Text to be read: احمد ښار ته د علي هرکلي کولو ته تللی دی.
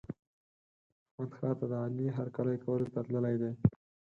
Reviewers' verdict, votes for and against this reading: accepted, 4, 2